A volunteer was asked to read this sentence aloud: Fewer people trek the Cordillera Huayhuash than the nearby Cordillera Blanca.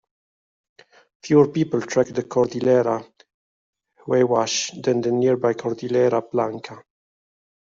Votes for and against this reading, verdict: 1, 2, rejected